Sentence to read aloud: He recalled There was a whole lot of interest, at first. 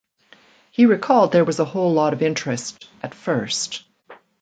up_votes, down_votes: 2, 1